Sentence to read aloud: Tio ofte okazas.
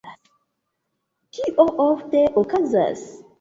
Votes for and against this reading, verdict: 1, 2, rejected